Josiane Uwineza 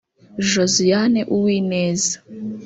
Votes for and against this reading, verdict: 1, 2, rejected